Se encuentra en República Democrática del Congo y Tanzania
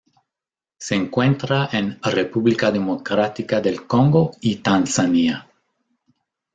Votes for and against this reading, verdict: 0, 2, rejected